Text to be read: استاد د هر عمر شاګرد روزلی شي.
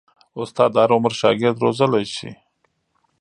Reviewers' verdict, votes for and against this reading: rejected, 2, 3